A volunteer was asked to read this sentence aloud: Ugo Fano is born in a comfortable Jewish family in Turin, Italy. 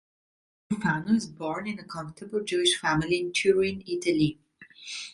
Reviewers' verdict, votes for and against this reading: rejected, 0, 2